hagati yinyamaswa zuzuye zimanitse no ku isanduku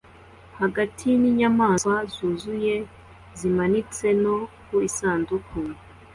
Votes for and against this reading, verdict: 2, 0, accepted